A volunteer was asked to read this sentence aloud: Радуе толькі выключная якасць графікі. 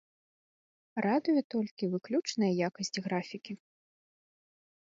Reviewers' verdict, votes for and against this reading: accepted, 2, 0